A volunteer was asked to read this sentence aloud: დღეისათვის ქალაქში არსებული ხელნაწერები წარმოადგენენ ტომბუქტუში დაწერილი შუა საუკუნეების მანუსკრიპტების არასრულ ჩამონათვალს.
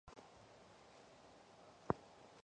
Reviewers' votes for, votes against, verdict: 0, 2, rejected